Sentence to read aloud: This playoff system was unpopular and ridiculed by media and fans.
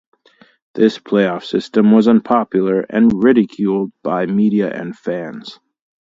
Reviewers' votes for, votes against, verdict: 2, 0, accepted